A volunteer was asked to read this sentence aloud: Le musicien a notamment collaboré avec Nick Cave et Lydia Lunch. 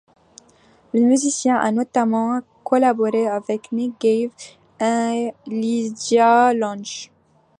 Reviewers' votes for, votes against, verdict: 2, 0, accepted